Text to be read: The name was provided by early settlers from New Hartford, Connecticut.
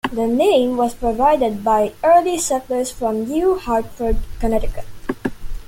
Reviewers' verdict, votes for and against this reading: accepted, 2, 1